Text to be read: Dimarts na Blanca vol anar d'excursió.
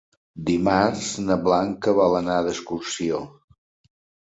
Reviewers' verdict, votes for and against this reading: accepted, 3, 0